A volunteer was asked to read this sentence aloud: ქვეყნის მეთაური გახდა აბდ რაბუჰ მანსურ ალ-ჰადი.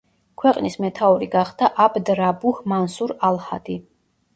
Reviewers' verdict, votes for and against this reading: accepted, 2, 0